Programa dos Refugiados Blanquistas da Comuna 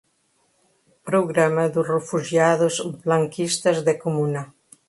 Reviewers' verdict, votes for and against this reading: rejected, 0, 2